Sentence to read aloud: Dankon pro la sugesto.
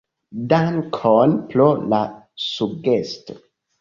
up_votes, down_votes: 2, 1